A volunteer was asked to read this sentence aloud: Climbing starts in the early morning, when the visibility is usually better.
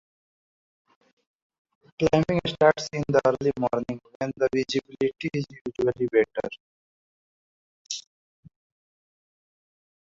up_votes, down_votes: 0, 2